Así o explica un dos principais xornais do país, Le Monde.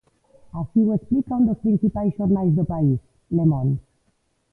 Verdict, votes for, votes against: accepted, 2, 1